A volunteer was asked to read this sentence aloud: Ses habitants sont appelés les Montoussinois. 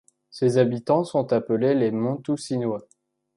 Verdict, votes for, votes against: accepted, 2, 0